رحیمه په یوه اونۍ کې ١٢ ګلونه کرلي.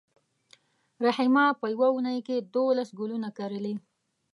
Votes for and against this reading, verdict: 0, 2, rejected